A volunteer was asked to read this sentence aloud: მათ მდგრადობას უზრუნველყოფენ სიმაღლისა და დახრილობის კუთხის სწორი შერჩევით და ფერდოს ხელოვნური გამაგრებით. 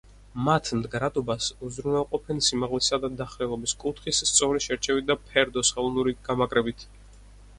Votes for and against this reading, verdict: 4, 0, accepted